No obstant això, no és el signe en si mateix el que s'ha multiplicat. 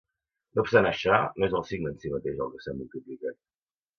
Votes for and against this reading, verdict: 0, 2, rejected